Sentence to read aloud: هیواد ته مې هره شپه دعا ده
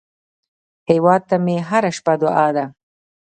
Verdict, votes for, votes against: accepted, 2, 1